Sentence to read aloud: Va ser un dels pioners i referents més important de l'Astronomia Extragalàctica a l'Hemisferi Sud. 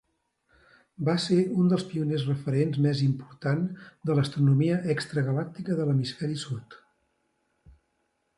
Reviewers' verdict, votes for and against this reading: rejected, 0, 2